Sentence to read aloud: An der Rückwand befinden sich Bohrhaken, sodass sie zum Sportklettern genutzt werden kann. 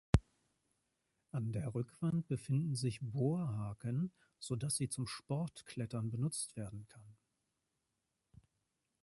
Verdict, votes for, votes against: accepted, 2, 0